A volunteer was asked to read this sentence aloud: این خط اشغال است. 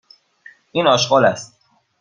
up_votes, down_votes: 1, 2